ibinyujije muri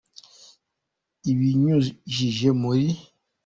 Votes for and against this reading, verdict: 2, 4, rejected